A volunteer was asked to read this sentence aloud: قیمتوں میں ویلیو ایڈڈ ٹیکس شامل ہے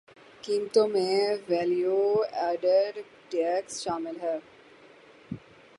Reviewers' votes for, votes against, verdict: 0, 6, rejected